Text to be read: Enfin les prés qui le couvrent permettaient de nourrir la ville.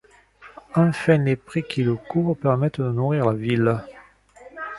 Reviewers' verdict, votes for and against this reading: accepted, 2, 0